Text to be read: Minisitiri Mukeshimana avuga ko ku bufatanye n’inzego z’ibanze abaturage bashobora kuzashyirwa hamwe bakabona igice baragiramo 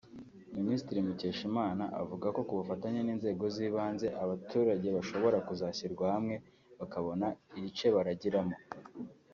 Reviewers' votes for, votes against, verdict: 2, 0, accepted